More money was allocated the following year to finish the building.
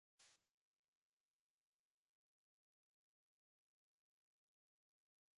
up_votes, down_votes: 0, 2